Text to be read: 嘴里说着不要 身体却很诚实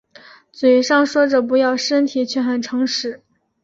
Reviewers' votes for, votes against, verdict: 2, 0, accepted